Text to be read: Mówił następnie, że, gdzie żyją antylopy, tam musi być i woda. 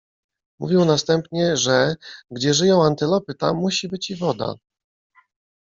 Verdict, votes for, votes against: rejected, 1, 2